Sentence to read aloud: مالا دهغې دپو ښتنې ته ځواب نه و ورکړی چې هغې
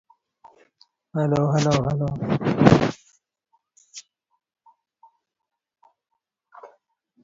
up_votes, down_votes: 0, 4